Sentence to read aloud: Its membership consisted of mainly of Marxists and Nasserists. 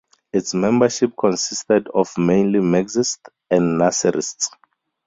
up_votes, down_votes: 0, 2